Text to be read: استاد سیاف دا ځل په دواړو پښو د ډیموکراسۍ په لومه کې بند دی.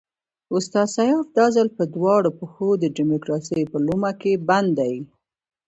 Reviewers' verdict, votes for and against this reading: accepted, 2, 1